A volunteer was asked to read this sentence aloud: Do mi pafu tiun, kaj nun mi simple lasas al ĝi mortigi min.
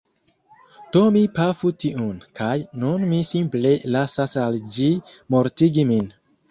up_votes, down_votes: 2, 0